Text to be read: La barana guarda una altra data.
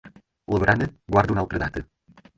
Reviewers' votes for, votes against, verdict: 4, 2, accepted